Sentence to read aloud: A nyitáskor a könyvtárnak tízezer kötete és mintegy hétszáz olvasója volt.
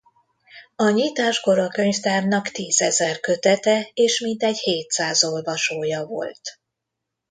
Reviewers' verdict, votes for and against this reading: accepted, 2, 0